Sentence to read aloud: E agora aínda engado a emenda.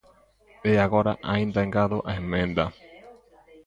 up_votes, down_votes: 2, 1